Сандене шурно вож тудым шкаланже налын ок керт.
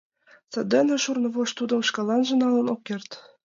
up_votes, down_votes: 2, 0